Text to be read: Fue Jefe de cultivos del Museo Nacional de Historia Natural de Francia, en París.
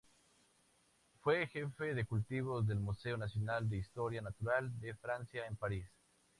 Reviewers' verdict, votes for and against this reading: accepted, 4, 0